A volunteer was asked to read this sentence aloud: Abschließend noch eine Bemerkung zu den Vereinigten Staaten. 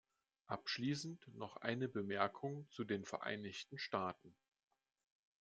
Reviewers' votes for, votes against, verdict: 2, 0, accepted